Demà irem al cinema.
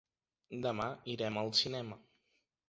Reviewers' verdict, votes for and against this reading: accepted, 4, 0